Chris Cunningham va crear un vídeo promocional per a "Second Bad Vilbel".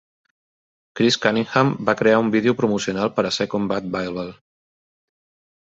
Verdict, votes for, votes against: accepted, 2, 0